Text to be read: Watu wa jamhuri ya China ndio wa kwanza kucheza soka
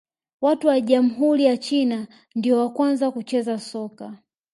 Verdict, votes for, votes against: accepted, 2, 0